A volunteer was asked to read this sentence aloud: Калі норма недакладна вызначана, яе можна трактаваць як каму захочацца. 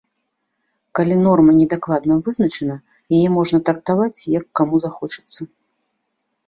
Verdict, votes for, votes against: accepted, 2, 0